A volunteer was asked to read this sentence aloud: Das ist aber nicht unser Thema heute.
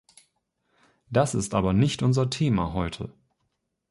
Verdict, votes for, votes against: accepted, 2, 0